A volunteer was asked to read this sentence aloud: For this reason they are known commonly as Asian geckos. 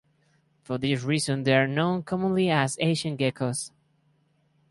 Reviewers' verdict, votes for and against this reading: rejected, 0, 2